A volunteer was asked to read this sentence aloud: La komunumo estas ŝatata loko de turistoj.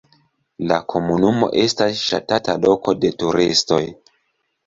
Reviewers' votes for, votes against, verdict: 1, 2, rejected